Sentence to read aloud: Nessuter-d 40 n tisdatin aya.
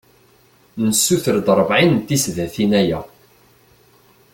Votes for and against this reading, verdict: 0, 2, rejected